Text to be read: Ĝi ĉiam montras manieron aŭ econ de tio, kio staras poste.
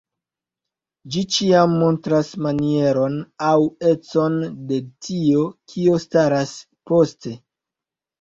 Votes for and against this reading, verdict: 2, 0, accepted